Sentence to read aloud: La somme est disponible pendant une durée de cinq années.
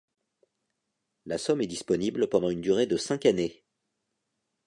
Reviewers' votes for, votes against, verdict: 2, 0, accepted